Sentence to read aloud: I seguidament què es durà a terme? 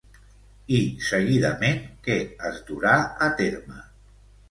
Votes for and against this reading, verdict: 2, 0, accepted